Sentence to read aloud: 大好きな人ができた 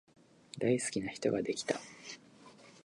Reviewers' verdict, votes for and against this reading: accepted, 2, 0